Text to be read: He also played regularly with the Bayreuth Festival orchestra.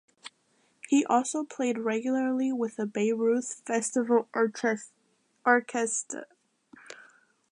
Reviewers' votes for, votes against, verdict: 0, 2, rejected